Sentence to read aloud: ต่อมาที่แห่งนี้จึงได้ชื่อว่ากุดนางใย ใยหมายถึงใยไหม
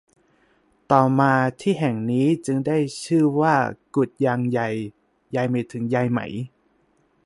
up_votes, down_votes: 0, 2